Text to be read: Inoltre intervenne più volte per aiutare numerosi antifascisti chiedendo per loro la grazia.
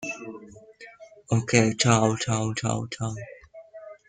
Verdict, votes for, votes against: rejected, 0, 2